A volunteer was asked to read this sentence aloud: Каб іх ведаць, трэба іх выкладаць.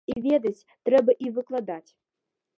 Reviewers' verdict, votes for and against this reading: rejected, 1, 2